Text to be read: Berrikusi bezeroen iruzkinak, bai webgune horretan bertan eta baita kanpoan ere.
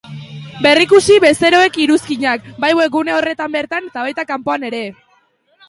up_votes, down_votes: 0, 2